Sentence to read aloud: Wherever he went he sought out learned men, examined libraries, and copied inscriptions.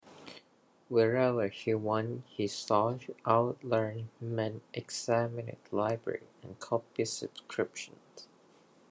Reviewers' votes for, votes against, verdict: 1, 2, rejected